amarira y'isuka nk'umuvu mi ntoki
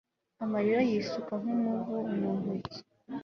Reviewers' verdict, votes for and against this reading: accepted, 2, 0